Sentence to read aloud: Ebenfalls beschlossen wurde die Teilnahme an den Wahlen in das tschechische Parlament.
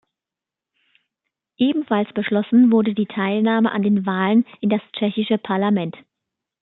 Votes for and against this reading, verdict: 2, 0, accepted